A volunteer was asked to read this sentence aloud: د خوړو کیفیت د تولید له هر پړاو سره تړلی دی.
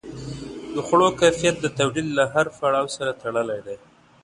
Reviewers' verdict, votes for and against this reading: accepted, 2, 0